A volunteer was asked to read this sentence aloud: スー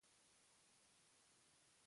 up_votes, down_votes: 0, 2